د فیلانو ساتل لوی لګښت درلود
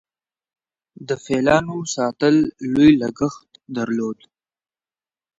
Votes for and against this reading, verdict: 2, 0, accepted